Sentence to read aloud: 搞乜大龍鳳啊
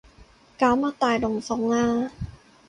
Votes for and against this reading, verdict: 4, 0, accepted